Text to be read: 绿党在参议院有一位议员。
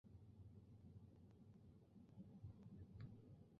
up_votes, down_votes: 0, 4